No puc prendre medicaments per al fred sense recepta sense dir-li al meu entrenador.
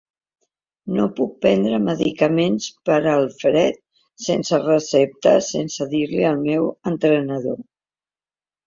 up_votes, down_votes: 2, 0